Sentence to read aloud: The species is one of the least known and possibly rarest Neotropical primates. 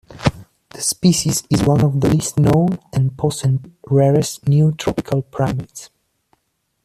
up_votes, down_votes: 2, 0